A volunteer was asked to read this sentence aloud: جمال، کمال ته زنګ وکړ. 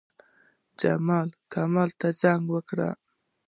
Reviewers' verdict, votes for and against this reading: accepted, 2, 0